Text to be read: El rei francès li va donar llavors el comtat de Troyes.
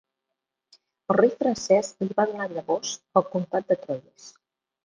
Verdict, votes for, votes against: rejected, 1, 2